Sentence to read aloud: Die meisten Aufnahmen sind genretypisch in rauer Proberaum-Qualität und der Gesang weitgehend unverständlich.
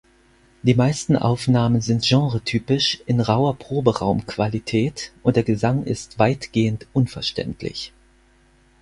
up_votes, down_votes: 0, 4